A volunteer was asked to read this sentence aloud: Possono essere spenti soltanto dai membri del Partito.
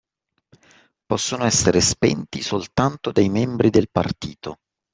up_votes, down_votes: 2, 0